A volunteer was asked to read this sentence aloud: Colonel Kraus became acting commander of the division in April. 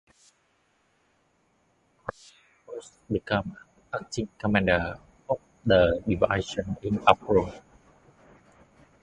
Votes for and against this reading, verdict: 0, 2, rejected